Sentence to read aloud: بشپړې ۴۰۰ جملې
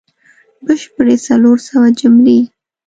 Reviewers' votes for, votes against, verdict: 0, 2, rejected